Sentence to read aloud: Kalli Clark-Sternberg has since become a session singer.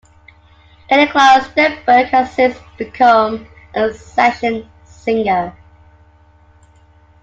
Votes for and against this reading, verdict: 0, 3, rejected